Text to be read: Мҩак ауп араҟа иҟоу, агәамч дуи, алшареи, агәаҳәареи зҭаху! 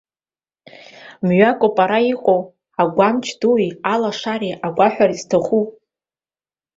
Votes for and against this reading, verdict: 1, 2, rejected